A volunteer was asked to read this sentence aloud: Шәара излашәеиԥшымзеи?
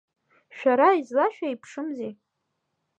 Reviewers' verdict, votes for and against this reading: rejected, 0, 2